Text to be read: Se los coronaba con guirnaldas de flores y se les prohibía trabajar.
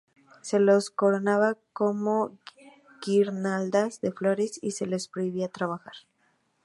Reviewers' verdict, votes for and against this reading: accepted, 2, 0